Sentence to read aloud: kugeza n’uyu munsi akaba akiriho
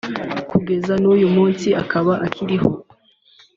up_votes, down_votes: 2, 0